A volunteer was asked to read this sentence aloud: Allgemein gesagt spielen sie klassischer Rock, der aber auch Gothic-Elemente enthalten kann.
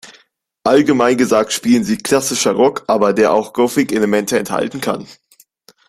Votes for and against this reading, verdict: 0, 2, rejected